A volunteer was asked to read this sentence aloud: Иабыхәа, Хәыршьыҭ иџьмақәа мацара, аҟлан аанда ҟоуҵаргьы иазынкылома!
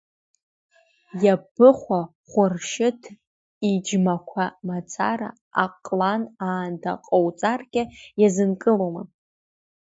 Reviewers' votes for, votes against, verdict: 2, 0, accepted